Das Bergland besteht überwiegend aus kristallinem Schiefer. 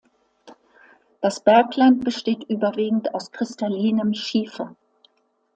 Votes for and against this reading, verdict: 2, 0, accepted